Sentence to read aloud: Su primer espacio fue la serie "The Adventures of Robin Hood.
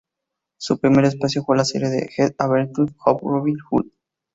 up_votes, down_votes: 0, 2